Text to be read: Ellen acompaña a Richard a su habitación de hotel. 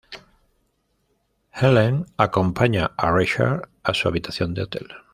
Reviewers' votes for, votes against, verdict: 2, 1, accepted